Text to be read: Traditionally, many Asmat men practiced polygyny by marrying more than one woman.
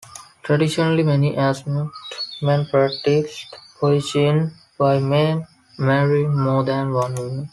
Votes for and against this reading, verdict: 0, 2, rejected